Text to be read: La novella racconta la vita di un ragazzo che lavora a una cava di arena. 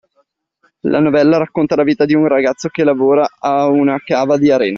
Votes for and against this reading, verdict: 2, 0, accepted